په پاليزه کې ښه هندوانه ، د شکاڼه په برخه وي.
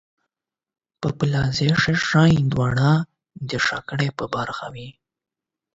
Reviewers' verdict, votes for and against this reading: rejected, 4, 8